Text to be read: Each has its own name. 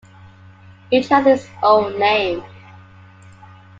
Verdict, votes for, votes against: accepted, 2, 1